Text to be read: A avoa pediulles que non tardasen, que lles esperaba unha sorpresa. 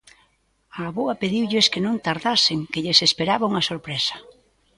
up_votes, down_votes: 1, 2